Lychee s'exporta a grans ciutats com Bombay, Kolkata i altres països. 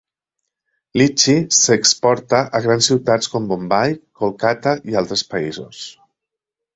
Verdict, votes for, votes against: accepted, 2, 0